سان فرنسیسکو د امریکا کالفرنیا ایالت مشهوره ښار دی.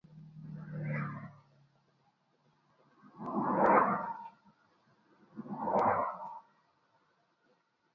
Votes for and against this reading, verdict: 0, 2, rejected